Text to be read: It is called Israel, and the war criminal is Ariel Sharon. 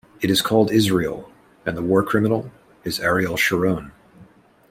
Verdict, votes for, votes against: accepted, 2, 0